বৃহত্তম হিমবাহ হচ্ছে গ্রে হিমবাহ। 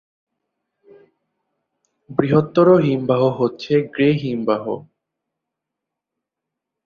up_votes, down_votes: 0, 2